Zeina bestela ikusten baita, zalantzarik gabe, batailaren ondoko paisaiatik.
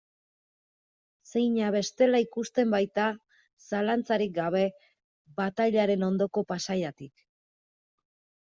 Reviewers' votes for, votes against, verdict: 2, 0, accepted